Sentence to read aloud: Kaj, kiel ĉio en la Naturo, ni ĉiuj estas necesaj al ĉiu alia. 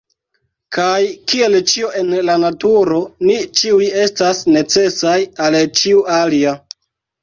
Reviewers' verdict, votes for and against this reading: accepted, 2, 1